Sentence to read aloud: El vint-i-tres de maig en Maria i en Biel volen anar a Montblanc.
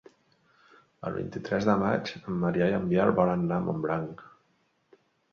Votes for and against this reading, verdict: 1, 3, rejected